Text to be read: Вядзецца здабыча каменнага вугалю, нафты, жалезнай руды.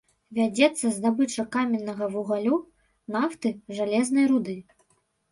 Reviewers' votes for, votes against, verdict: 1, 2, rejected